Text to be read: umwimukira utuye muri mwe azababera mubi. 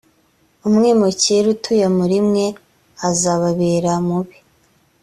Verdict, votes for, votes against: accepted, 2, 0